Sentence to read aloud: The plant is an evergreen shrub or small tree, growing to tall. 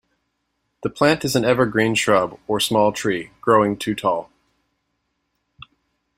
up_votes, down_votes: 2, 1